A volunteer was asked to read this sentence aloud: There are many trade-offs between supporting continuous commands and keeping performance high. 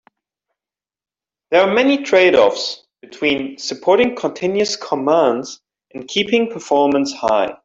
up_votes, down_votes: 2, 1